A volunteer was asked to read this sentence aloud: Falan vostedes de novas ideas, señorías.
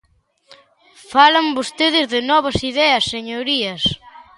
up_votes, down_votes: 2, 0